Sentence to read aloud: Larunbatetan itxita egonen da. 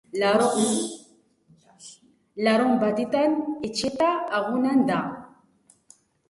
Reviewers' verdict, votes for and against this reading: rejected, 0, 2